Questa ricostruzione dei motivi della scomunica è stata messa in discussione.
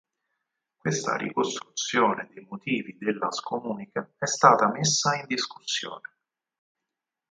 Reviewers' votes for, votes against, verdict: 2, 4, rejected